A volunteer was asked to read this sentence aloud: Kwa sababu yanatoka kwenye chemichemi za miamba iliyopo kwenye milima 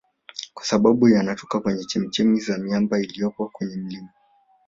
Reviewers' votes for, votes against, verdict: 2, 0, accepted